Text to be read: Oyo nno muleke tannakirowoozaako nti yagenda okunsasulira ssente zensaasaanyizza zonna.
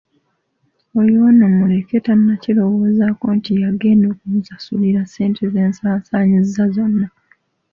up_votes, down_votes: 0, 2